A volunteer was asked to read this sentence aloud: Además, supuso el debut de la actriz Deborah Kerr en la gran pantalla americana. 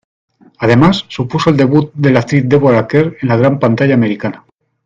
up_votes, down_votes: 2, 0